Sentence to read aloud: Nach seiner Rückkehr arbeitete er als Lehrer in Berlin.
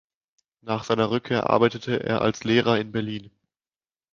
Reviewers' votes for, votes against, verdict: 2, 0, accepted